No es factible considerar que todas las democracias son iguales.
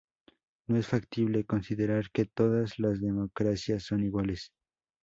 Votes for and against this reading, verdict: 2, 0, accepted